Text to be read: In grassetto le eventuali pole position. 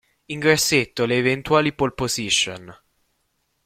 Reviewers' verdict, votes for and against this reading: rejected, 1, 2